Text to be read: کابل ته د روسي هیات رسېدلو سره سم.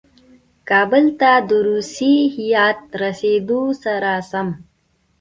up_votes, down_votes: 2, 1